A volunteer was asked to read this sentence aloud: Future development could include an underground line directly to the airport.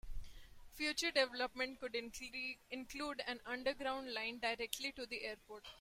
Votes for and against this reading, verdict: 0, 2, rejected